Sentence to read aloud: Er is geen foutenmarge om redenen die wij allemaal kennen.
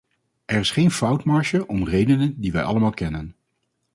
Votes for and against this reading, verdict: 2, 2, rejected